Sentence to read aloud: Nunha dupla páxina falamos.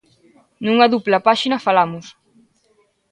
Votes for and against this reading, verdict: 2, 0, accepted